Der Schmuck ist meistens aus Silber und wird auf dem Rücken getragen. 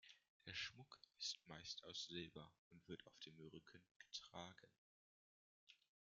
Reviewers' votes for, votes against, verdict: 0, 2, rejected